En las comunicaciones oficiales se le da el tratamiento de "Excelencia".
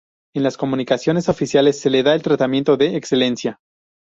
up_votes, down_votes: 2, 2